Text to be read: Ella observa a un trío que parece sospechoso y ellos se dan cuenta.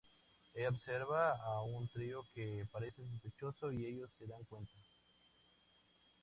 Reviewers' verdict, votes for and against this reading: accepted, 2, 0